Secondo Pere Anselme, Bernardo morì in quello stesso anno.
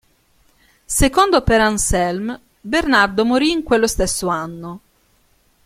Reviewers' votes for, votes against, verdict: 2, 0, accepted